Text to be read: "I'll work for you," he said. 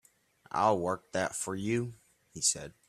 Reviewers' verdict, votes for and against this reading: rejected, 1, 3